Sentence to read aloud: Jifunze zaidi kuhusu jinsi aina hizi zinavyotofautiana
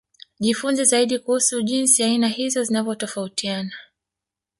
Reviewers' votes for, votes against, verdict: 0, 2, rejected